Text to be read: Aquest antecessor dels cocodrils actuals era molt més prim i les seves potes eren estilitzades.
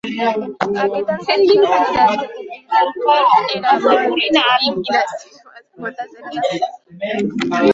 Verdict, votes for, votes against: rejected, 0, 2